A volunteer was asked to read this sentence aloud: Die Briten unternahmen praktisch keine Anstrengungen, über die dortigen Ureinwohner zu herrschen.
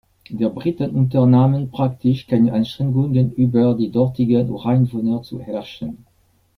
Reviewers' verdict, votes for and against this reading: rejected, 1, 2